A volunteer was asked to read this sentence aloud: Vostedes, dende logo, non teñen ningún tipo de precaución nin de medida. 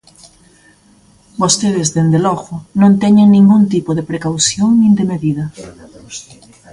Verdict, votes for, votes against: accepted, 2, 1